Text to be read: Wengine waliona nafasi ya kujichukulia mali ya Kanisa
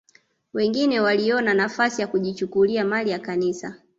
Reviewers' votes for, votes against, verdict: 2, 0, accepted